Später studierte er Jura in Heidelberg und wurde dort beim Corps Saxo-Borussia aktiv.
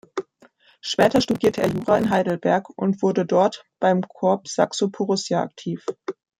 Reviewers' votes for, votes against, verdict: 0, 2, rejected